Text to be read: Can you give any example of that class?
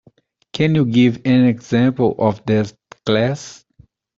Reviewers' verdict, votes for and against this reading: rejected, 1, 2